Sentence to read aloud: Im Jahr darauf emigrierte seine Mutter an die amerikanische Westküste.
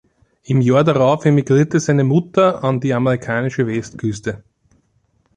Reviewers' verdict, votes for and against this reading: accepted, 3, 1